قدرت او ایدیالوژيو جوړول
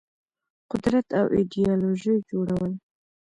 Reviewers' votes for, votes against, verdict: 2, 1, accepted